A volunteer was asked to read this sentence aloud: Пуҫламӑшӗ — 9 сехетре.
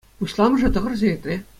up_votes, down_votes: 0, 2